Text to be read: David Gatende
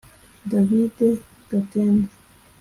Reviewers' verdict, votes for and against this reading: accepted, 2, 0